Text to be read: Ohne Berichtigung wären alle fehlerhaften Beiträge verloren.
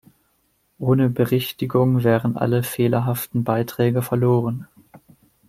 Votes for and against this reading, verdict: 2, 0, accepted